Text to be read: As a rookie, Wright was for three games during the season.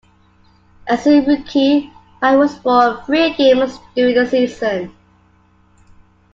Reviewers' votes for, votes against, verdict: 0, 2, rejected